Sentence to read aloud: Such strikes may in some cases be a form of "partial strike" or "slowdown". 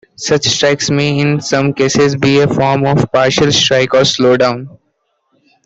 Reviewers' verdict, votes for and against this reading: accepted, 2, 0